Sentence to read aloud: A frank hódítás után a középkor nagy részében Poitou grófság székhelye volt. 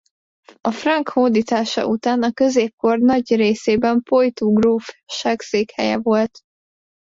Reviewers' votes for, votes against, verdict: 0, 2, rejected